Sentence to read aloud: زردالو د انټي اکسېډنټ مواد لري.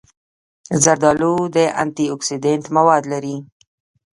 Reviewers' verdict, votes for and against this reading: rejected, 0, 2